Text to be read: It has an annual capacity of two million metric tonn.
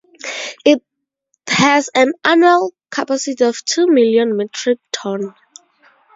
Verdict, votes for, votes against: accepted, 2, 0